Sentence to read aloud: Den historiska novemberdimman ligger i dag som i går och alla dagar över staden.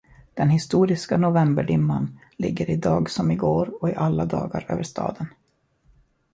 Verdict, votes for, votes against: accepted, 2, 1